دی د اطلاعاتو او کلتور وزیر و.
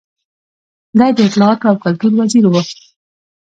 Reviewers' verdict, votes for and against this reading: accepted, 2, 0